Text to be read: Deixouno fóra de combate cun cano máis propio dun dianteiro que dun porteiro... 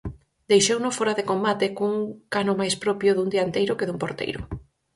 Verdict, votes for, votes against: accepted, 4, 0